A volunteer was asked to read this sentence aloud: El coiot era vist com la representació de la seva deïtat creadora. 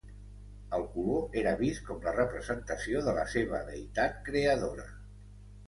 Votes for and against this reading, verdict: 1, 3, rejected